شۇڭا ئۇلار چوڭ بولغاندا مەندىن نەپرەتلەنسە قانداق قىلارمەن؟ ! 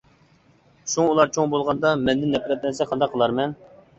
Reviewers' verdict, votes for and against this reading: accepted, 2, 0